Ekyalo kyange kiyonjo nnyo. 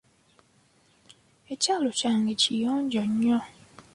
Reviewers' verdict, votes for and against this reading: accepted, 3, 0